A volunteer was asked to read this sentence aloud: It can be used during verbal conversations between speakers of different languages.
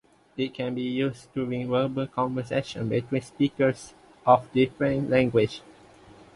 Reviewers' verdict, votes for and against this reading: rejected, 0, 2